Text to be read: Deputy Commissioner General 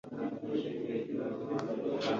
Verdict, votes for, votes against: rejected, 0, 2